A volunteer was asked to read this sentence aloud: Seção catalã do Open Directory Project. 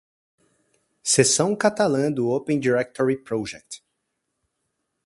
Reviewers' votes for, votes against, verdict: 4, 0, accepted